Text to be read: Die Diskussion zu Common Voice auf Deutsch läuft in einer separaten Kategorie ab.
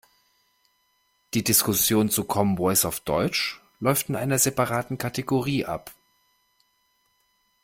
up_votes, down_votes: 2, 0